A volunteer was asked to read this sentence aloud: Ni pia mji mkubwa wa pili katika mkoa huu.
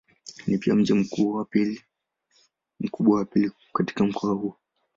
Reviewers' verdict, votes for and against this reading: rejected, 0, 2